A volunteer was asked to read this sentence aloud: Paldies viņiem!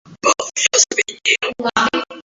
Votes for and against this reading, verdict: 0, 2, rejected